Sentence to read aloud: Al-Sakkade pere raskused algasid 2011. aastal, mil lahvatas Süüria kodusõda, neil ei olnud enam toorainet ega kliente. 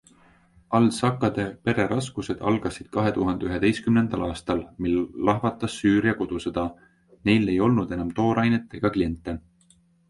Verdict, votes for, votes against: rejected, 0, 2